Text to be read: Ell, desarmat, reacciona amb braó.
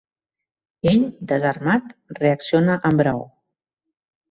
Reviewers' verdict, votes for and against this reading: accepted, 2, 0